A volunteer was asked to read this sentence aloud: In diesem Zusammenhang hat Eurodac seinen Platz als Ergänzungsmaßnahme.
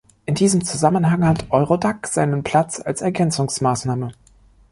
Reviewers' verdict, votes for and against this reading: accepted, 2, 0